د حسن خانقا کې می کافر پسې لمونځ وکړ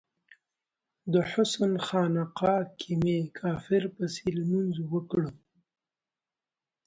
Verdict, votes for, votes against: accepted, 2, 0